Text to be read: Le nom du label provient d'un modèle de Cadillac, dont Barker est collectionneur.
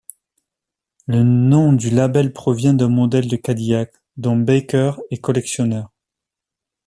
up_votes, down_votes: 2, 1